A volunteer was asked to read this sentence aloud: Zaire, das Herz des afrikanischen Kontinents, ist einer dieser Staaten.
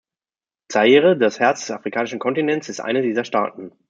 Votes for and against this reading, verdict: 1, 2, rejected